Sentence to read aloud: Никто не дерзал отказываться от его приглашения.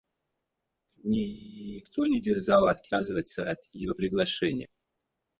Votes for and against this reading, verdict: 2, 4, rejected